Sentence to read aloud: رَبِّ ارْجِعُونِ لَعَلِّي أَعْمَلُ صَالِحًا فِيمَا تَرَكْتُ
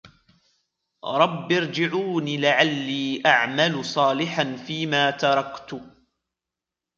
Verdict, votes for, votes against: accepted, 2, 0